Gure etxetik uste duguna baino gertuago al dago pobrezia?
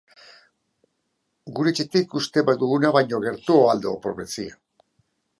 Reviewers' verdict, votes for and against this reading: rejected, 0, 3